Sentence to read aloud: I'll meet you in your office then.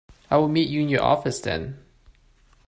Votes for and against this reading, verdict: 2, 0, accepted